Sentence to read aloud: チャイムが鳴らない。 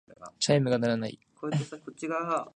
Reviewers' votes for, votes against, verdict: 2, 1, accepted